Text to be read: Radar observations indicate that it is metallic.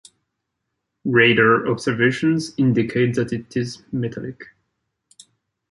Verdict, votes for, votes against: accepted, 2, 1